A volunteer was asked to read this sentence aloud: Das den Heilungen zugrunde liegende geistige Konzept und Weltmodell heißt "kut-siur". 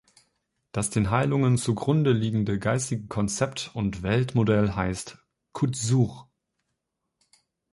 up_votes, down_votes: 1, 2